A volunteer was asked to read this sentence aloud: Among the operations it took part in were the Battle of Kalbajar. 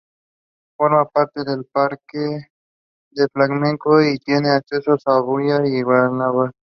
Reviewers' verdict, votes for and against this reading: rejected, 0, 2